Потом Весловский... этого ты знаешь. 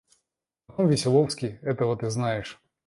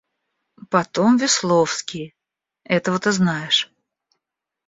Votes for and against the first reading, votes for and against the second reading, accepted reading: 1, 2, 2, 0, second